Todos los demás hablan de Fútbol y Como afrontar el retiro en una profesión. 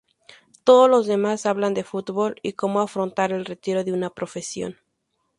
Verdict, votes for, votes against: accepted, 2, 0